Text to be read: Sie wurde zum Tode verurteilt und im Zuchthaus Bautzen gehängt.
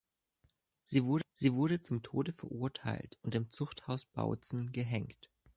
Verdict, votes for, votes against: rejected, 0, 2